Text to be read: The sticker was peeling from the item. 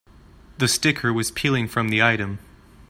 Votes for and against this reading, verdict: 2, 0, accepted